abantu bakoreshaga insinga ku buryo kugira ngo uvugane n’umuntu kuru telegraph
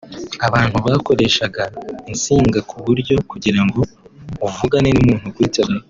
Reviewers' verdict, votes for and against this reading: rejected, 1, 4